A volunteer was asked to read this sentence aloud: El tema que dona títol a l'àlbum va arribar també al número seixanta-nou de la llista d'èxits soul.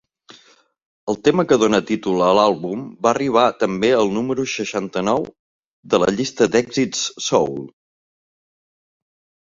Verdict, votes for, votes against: accepted, 4, 0